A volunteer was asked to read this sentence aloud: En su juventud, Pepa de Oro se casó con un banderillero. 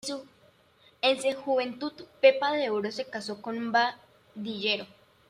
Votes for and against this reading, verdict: 0, 2, rejected